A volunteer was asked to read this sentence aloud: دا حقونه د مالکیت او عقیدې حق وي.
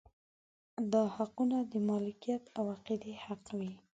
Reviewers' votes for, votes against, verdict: 2, 0, accepted